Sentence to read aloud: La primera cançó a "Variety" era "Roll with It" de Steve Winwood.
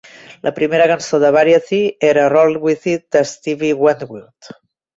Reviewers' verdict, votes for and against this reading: accepted, 2, 0